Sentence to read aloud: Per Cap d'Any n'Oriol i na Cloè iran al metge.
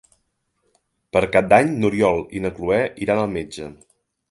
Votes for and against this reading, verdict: 3, 0, accepted